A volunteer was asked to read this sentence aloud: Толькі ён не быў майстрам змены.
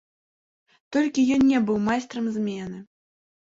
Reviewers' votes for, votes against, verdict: 1, 3, rejected